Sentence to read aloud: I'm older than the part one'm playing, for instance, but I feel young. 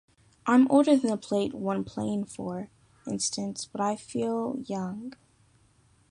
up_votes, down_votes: 0, 2